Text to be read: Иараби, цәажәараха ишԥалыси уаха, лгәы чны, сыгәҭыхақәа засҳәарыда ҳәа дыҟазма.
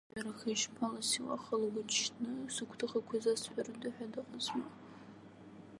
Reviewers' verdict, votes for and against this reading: rejected, 0, 2